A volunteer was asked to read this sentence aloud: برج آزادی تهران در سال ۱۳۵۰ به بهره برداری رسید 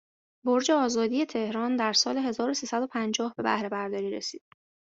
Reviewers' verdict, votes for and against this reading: rejected, 0, 2